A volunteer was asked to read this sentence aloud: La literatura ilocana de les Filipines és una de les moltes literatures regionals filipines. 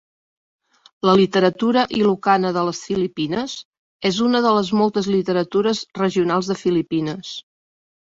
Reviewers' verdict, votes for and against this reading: rejected, 6, 7